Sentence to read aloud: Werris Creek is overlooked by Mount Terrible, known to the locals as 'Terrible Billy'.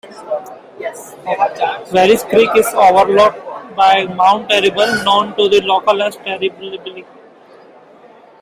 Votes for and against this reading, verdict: 1, 2, rejected